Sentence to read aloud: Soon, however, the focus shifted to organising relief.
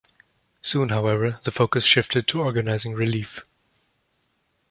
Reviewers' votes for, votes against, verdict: 2, 0, accepted